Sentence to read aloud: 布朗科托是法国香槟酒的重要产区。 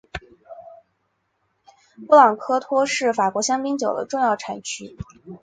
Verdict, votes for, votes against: accepted, 2, 0